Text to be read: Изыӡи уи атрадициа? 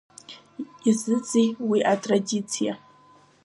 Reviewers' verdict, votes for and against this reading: rejected, 1, 2